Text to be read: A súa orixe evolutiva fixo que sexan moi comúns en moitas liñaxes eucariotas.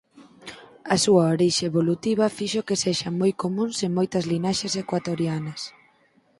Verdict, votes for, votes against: rejected, 0, 4